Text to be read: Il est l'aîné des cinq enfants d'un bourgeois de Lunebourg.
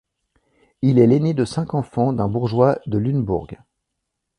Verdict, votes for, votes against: accepted, 2, 0